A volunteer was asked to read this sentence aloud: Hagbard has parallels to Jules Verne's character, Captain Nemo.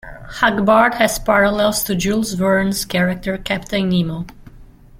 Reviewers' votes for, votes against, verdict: 0, 2, rejected